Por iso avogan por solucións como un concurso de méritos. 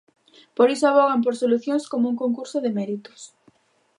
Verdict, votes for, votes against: accepted, 2, 0